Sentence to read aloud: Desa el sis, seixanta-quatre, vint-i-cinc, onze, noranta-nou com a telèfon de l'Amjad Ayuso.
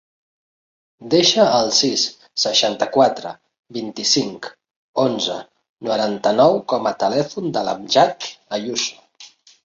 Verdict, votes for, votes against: rejected, 0, 3